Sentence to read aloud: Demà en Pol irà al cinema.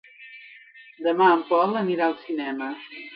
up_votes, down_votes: 0, 2